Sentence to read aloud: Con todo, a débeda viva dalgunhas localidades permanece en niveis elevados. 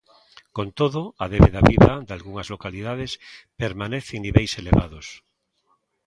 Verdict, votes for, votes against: accepted, 2, 0